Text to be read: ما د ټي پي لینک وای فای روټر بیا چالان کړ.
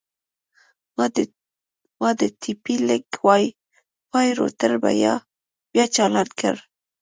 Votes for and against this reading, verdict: 0, 2, rejected